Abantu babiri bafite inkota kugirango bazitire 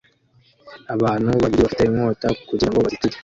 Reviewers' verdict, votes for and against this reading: rejected, 0, 2